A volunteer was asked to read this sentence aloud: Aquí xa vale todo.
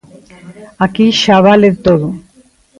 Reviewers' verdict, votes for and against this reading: accepted, 2, 0